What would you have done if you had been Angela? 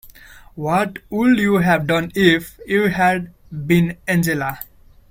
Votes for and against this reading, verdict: 1, 2, rejected